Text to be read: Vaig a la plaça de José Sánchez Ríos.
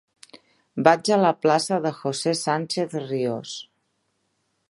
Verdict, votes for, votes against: accepted, 3, 0